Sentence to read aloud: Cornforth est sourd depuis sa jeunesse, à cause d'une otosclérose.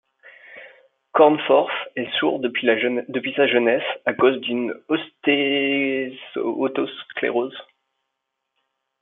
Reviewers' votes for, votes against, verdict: 0, 2, rejected